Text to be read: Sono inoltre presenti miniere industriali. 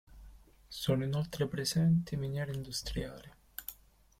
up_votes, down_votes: 2, 0